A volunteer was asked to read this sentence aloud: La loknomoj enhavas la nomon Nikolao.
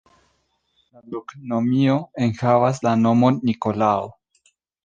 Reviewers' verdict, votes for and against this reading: rejected, 1, 2